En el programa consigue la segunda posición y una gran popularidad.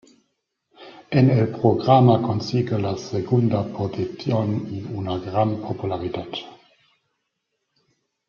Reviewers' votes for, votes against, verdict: 1, 2, rejected